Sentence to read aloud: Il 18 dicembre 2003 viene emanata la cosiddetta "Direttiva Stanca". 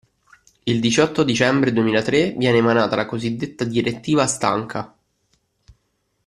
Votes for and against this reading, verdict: 0, 2, rejected